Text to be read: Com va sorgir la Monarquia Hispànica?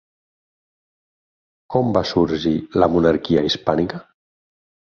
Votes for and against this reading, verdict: 6, 0, accepted